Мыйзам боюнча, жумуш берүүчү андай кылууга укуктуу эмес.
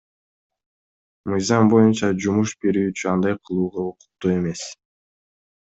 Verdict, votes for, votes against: accepted, 2, 0